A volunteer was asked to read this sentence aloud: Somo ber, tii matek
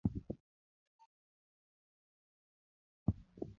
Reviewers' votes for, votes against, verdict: 1, 2, rejected